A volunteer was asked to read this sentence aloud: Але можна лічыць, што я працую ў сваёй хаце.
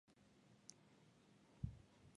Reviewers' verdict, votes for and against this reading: rejected, 0, 2